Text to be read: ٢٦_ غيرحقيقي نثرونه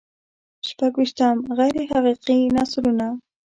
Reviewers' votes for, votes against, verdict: 0, 2, rejected